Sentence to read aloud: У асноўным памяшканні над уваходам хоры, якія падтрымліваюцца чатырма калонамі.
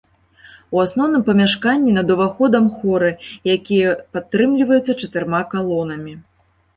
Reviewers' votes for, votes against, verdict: 3, 0, accepted